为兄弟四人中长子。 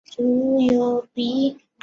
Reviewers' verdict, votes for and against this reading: rejected, 0, 2